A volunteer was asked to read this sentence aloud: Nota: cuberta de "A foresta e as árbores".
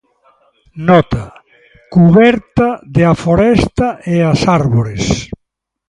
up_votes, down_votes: 2, 1